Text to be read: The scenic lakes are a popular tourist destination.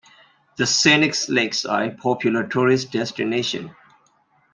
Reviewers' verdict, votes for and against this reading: rejected, 0, 2